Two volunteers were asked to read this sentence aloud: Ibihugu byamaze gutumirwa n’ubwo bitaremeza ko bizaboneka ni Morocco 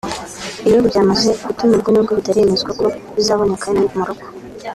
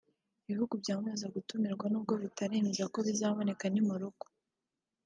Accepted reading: second